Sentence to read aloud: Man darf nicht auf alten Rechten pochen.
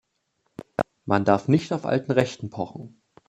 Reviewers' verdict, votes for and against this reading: accepted, 2, 0